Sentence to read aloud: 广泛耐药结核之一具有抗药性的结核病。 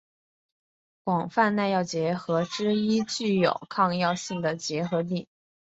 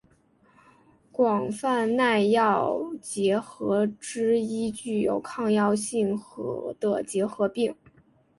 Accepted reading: first